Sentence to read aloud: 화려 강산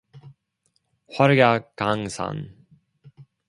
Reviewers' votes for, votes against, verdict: 1, 2, rejected